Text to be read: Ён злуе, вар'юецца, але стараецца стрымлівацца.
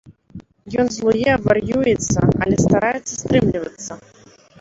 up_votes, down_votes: 1, 2